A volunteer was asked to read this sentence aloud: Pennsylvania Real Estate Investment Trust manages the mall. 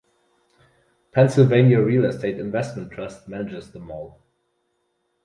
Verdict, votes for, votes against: rejected, 2, 2